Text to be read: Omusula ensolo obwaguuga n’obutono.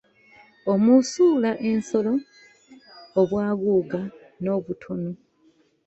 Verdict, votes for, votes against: rejected, 0, 2